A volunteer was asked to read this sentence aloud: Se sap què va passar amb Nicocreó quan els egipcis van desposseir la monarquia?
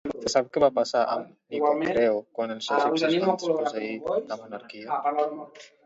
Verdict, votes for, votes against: rejected, 1, 2